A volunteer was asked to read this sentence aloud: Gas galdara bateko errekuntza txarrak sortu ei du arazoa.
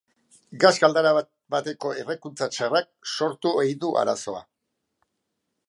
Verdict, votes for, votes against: rejected, 0, 2